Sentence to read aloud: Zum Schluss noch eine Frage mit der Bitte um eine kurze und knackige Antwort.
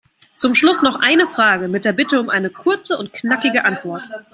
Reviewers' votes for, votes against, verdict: 2, 0, accepted